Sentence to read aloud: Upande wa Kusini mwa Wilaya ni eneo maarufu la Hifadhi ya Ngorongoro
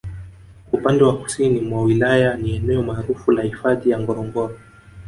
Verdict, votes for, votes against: rejected, 0, 2